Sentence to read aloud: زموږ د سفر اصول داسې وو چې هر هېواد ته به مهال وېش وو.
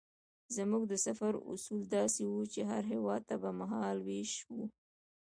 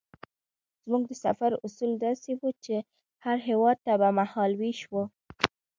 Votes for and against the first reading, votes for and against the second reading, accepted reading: 1, 2, 2, 0, second